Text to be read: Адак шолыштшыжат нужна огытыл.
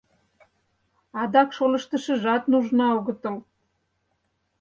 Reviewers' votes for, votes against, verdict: 2, 4, rejected